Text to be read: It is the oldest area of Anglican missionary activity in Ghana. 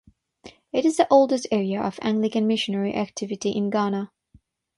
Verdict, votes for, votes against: accepted, 6, 0